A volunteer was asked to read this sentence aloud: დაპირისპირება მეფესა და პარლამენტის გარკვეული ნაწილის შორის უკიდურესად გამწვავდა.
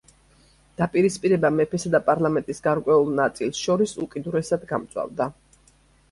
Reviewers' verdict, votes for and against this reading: accepted, 2, 1